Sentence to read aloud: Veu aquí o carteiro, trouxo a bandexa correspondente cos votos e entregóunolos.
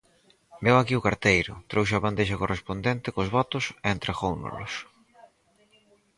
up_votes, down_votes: 4, 0